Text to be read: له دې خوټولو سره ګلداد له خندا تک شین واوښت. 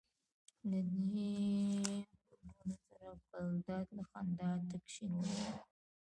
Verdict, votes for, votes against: rejected, 0, 2